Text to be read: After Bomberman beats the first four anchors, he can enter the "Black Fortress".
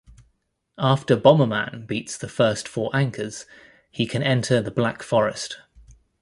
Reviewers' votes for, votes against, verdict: 1, 3, rejected